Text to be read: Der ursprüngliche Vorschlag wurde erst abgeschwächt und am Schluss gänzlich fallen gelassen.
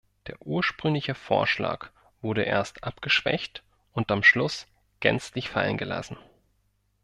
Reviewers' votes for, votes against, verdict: 2, 0, accepted